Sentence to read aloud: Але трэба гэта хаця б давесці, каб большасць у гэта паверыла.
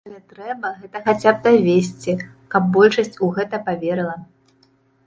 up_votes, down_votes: 1, 2